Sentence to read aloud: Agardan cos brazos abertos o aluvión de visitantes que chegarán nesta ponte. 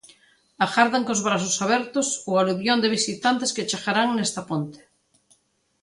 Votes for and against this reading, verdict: 2, 0, accepted